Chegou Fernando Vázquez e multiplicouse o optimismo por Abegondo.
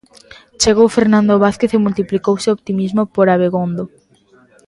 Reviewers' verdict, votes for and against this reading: accepted, 2, 0